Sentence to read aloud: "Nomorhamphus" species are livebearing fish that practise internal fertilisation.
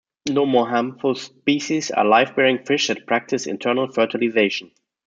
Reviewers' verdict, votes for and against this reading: accepted, 2, 1